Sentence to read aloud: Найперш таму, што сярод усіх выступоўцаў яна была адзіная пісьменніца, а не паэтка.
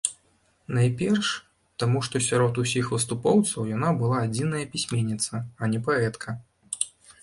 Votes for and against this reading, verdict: 2, 0, accepted